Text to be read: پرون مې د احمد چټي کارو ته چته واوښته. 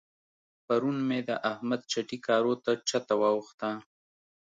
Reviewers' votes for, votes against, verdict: 2, 0, accepted